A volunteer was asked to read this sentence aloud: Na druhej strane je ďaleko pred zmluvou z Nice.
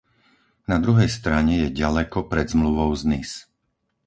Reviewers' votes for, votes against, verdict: 4, 0, accepted